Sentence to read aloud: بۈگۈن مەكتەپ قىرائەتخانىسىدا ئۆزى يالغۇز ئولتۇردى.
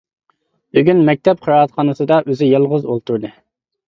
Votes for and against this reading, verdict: 2, 0, accepted